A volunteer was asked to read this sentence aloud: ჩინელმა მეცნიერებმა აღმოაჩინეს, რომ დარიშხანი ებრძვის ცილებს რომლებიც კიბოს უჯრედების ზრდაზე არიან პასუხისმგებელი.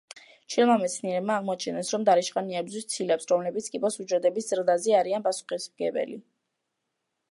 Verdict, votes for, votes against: rejected, 1, 2